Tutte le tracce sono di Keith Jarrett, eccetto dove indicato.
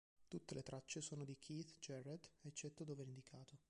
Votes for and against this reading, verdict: 1, 2, rejected